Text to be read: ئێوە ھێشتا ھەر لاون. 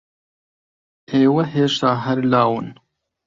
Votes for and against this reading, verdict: 2, 0, accepted